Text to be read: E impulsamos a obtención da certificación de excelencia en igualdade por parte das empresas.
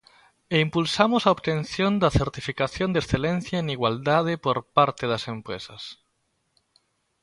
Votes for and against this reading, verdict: 2, 0, accepted